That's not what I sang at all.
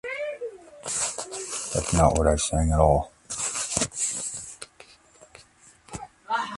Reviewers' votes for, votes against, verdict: 0, 2, rejected